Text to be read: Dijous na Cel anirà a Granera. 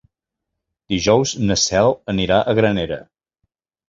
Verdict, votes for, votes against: accepted, 4, 0